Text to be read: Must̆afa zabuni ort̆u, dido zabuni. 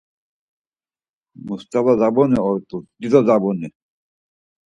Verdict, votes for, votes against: accepted, 4, 0